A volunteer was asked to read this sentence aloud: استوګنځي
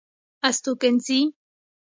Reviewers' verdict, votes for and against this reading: accepted, 2, 0